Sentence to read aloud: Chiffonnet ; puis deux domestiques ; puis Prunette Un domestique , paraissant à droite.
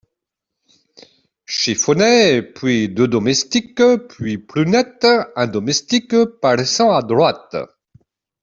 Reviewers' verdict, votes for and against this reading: accepted, 2, 0